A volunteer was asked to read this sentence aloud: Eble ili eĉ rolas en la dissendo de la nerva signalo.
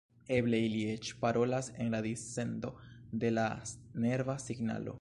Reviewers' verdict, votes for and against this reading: rejected, 0, 2